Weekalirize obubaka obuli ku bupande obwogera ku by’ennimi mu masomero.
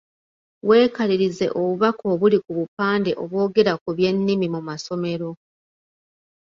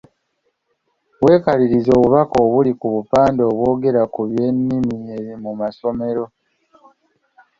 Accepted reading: first